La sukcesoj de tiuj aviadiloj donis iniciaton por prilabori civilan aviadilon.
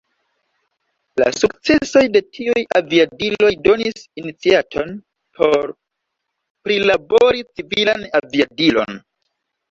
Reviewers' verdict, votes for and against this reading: accepted, 2, 0